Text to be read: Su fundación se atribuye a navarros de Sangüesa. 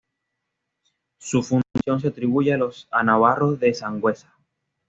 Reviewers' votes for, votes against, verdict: 1, 2, rejected